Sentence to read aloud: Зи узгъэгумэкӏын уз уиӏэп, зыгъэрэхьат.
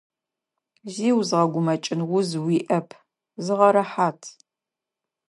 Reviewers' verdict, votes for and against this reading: accepted, 2, 0